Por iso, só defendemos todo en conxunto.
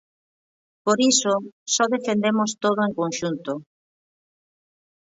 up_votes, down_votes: 2, 1